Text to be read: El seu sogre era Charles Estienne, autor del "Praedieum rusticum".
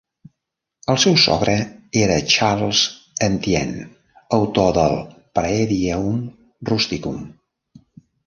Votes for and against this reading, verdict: 0, 2, rejected